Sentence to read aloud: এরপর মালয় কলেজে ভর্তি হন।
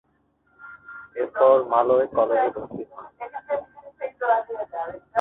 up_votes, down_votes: 1, 2